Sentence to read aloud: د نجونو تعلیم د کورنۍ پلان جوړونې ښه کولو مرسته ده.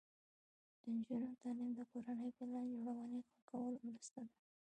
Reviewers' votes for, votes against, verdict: 2, 0, accepted